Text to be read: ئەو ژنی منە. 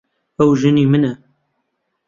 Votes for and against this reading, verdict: 2, 0, accepted